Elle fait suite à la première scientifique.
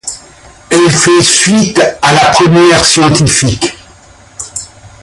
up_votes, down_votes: 1, 2